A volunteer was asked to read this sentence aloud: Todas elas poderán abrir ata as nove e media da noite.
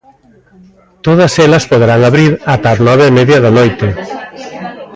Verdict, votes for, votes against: rejected, 1, 2